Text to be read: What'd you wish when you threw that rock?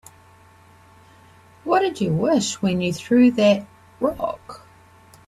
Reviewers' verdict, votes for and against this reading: accepted, 2, 0